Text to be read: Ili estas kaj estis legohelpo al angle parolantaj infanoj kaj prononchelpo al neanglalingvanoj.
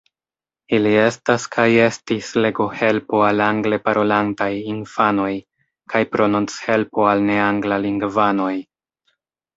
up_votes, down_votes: 1, 2